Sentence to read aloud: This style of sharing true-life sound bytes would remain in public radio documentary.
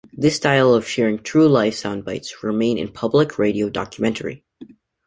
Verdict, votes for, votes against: rejected, 0, 2